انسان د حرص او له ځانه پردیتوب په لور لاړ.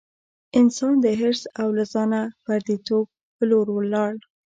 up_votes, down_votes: 0, 2